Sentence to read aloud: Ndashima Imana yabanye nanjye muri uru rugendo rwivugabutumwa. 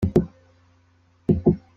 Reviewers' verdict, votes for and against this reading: rejected, 0, 2